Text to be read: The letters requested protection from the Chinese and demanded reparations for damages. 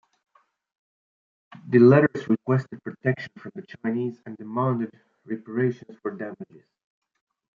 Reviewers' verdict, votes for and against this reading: accepted, 2, 1